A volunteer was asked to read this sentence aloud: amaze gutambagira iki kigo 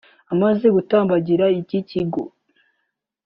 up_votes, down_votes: 2, 0